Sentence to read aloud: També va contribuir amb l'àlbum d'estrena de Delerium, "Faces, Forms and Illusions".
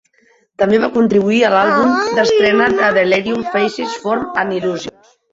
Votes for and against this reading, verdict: 1, 2, rejected